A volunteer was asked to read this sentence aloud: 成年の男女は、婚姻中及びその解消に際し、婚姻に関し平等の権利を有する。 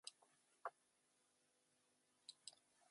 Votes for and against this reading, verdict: 0, 2, rejected